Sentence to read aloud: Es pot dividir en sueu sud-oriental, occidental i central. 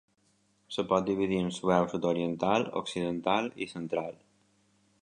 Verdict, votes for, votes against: rejected, 1, 2